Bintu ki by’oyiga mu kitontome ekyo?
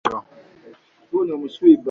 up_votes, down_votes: 0, 2